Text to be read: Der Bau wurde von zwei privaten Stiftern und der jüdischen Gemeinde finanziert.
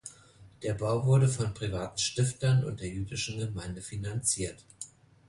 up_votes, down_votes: 1, 2